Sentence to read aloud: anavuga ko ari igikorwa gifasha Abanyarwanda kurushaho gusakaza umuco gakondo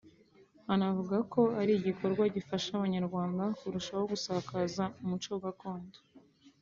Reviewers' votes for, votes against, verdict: 2, 0, accepted